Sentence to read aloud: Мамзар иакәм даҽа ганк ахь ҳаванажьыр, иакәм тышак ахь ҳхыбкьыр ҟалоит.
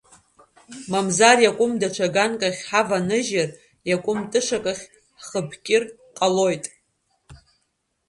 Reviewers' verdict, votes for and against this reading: rejected, 1, 2